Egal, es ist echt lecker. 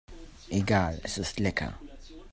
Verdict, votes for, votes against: rejected, 0, 2